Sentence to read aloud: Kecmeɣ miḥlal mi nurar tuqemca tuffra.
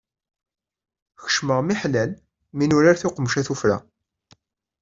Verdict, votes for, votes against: accepted, 2, 0